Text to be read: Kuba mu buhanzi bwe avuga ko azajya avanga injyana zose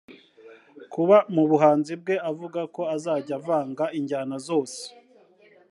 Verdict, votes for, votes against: rejected, 1, 2